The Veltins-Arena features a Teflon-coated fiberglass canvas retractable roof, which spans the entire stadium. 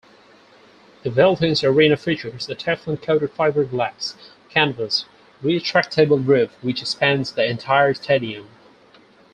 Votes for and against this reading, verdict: 2, 4, rejected